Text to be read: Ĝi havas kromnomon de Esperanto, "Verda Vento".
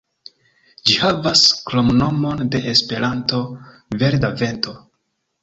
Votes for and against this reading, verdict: 2, 1, accepted